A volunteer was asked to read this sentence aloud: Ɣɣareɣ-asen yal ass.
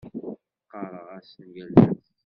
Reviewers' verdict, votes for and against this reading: rejected, 1, 2